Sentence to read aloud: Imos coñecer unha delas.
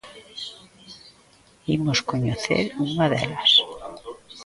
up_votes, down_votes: 2, 0